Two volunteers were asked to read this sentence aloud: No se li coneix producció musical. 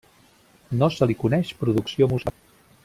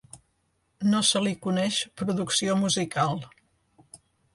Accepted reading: second